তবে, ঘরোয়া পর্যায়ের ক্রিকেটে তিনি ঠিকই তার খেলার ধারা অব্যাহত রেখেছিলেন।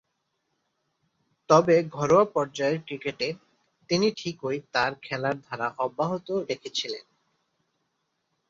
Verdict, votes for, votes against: accepted, 3, 1